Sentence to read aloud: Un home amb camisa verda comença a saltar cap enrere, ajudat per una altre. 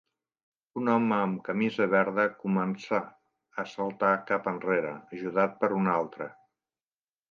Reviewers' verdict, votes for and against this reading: rejected, 0, 2